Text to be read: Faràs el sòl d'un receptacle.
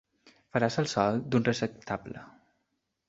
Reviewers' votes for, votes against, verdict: 0, 2, rejected